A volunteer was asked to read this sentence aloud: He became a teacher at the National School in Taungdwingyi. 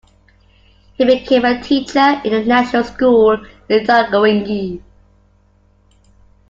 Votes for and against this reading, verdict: 2, 0, accepted